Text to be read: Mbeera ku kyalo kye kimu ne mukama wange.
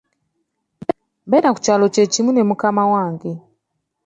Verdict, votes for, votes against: accepted, 2, 0